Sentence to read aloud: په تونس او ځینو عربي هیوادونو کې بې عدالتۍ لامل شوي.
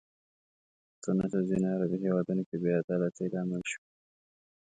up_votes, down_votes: 0, 2